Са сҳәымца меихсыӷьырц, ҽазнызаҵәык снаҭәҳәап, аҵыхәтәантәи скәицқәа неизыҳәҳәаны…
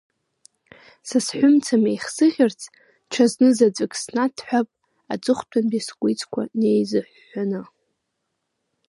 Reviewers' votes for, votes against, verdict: 2, 1, accepted